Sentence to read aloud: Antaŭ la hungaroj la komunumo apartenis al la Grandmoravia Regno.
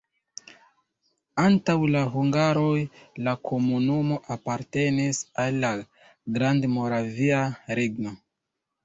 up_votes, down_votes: 1, 2